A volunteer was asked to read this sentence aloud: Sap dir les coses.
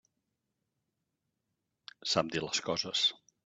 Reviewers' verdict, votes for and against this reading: accepted, 2, 0